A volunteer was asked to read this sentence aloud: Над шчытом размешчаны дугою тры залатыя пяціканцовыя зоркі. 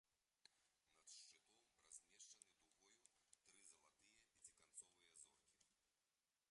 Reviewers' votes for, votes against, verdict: 0, 2, rejected